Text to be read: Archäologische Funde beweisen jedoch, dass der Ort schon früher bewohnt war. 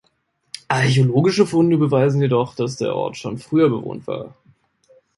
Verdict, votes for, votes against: accepted, 2, 0